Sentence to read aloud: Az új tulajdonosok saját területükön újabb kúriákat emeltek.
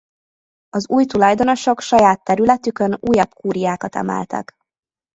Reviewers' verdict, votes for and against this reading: rejected, 1, 2